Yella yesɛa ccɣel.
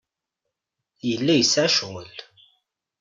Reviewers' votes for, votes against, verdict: 2, 0, accepted